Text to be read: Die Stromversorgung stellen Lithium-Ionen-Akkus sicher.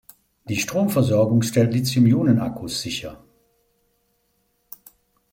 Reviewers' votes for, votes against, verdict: 2, 0, accepted